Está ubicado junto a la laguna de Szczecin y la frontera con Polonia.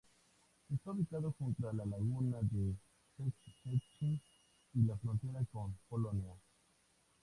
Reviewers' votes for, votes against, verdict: 2, 0, accepted